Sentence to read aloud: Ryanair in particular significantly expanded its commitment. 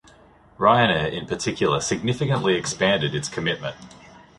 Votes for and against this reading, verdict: 2, 0, accepted